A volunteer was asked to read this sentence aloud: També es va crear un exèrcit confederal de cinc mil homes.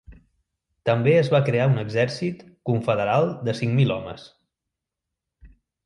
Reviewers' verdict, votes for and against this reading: accepted, 3, 0